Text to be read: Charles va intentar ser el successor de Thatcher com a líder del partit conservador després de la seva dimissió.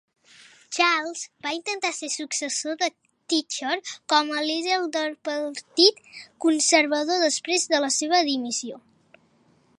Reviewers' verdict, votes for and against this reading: rejected, 0, 2